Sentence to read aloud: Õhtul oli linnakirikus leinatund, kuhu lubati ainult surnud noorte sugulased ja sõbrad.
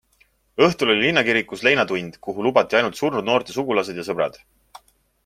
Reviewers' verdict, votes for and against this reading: accepted, 2, 0